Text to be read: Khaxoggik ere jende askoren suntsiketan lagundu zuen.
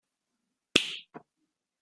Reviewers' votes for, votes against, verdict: 0, 2, rejected